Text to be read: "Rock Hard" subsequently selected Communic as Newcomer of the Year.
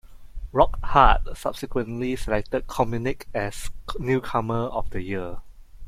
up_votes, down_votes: 2, 0